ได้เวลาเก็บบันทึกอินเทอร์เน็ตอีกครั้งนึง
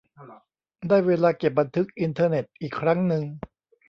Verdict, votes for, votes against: accepted, 2, 0